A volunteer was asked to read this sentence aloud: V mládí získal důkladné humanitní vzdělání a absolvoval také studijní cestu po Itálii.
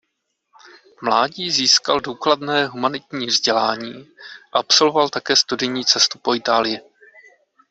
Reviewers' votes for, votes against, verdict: 2, 0, accepted